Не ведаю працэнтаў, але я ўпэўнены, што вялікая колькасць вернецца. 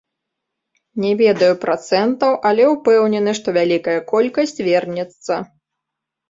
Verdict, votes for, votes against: rejected, 1, 2